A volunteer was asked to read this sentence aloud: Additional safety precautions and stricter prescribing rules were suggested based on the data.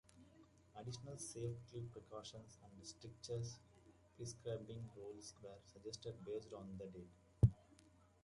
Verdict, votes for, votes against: rejected, 0, 2